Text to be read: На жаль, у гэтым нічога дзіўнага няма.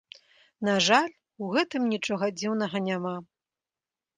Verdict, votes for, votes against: accepted, 2, 1